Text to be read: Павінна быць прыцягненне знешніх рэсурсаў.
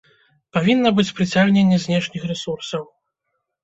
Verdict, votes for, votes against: rejected, 1, 2